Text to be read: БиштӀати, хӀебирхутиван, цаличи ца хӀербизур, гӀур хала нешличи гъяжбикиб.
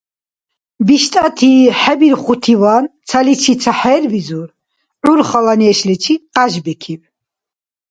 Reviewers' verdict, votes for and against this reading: rejected, 0, 2